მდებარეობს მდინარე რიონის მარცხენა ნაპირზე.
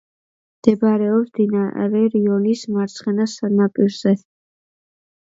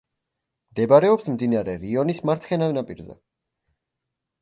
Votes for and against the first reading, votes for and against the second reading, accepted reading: 1, 2, 2, 0, second